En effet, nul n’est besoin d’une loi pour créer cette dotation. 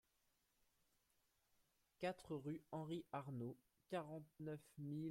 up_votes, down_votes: 0, 2